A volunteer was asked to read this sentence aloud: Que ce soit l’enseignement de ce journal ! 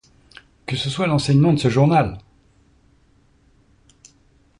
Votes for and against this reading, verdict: 2, 0, accepted